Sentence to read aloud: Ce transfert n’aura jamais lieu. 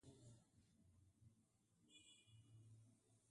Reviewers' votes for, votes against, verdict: 0, 2, rejected